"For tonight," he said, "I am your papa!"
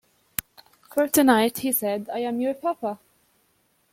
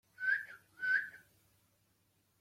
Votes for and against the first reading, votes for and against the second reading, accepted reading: 2, 0, 0, 2, first